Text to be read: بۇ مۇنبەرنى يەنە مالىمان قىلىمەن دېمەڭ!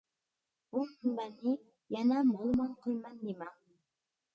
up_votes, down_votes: 0, 2